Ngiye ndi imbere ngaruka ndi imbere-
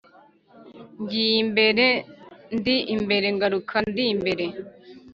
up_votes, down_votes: 1, 2